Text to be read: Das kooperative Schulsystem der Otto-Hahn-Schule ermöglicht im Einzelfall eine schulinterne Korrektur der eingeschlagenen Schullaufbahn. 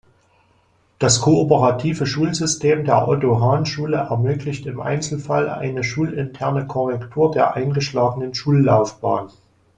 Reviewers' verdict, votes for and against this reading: accepted, 2, 0